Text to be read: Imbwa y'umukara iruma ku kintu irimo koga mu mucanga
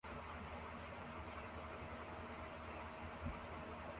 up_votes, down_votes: 0, 2